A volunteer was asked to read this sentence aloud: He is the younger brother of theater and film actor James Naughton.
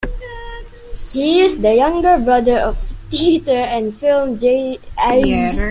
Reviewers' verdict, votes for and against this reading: rejected, 0, 2